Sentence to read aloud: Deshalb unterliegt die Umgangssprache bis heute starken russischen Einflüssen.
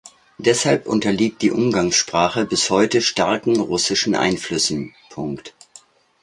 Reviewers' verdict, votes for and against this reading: rejected, 1, 2